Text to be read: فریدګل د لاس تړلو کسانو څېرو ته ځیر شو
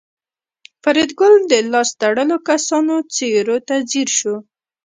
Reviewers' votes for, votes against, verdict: 0, 2, rejected